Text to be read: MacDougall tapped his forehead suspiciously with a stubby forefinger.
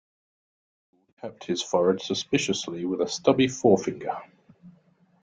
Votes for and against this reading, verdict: 0, 2, rejected